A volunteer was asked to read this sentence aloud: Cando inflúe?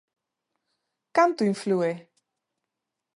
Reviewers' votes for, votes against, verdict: 1, 2, rejected